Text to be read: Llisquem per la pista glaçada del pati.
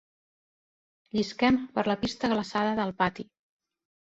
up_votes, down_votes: 2, 0